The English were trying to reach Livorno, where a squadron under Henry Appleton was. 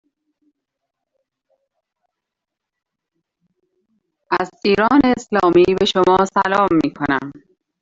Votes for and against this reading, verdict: 0, 2, rejected